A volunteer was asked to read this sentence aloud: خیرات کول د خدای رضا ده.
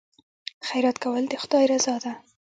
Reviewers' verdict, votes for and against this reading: rejected, 0, 2